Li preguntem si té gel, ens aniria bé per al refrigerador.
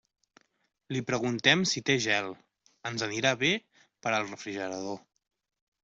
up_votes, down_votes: 0, 2